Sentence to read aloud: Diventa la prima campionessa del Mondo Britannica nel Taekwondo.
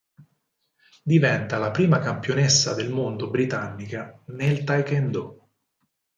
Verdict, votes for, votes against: accepted, 6, 2